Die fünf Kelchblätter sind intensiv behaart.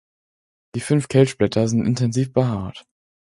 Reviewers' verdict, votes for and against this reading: accepted, 4, 0